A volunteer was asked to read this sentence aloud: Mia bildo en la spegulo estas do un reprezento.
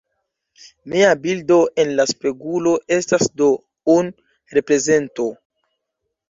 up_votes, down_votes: 2, 0